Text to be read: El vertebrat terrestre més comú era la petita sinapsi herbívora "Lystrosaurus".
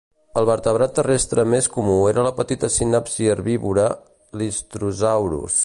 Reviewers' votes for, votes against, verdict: 1, 2, rejected